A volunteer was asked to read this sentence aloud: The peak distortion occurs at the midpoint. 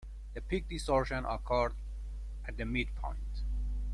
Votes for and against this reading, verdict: 2, 0, accepted